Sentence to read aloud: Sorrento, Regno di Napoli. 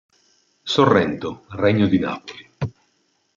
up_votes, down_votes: 3, 1